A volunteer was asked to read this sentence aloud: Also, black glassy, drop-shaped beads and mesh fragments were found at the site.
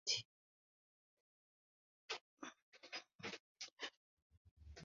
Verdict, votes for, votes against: rejected, 0, 2